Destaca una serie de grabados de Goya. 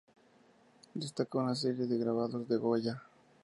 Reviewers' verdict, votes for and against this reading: accepted, 2, 0